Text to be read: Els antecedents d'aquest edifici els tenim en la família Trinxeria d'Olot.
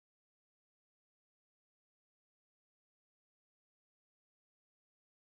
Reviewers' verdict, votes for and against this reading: rejected, 0, 2